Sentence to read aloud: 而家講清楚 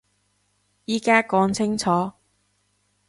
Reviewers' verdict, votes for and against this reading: rejected, 1, 2